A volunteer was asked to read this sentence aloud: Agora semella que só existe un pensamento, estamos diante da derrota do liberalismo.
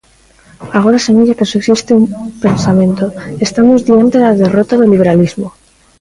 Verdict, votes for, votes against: accepted, 2, 0